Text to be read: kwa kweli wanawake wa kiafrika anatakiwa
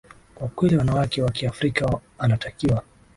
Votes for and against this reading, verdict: 3, 1, accepted